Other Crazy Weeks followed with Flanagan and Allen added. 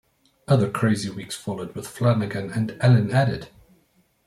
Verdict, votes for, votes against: accepted, 2, 0